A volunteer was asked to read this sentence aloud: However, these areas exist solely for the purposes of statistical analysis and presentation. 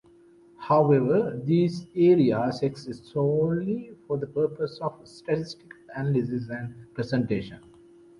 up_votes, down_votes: 1, 2